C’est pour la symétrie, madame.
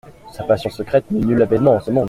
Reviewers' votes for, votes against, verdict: 0, 2, rejected